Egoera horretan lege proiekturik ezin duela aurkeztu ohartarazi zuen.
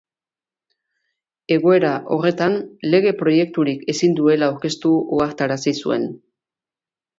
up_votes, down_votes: 3, 1